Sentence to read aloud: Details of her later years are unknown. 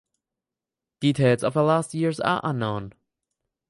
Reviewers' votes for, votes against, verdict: 0, 4, rejected